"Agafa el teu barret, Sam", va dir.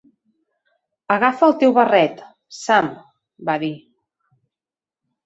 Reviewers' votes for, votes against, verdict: 2, 0, accepted